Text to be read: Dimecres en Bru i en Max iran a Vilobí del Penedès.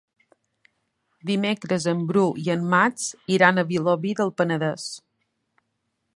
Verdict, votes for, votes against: accepted, 3, 0